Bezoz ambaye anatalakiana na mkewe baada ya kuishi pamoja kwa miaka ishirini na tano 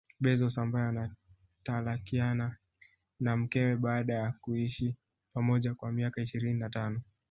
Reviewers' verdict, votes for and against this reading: rejected, 0, 2